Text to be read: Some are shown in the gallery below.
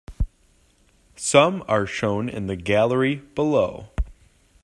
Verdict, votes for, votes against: accepted, 2, 0